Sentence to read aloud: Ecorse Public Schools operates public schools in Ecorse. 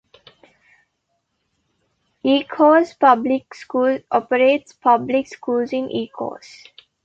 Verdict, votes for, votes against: accepted, 2, 1